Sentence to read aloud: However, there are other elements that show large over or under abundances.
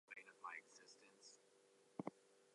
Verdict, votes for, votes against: rejected, 0, 4